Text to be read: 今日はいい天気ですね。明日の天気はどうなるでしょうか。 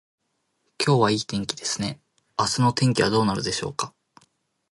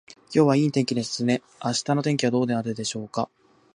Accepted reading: first